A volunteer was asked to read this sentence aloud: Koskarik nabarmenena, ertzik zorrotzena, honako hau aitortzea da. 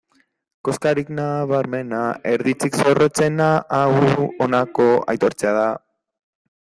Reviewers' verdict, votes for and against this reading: rejected, 0, 2